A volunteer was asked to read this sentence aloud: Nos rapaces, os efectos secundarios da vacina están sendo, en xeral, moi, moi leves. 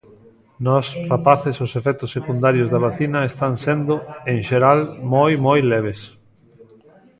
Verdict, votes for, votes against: accepted, 2, 0